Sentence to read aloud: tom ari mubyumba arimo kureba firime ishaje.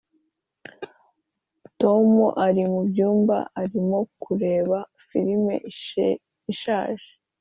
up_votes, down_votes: 1, 2